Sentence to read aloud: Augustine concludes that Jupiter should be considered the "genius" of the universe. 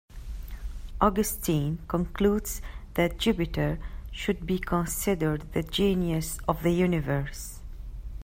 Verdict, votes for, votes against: accepted, 2, 0